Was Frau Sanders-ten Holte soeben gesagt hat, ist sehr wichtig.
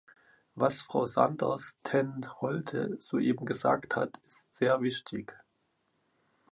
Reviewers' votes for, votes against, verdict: 1, 2, rejected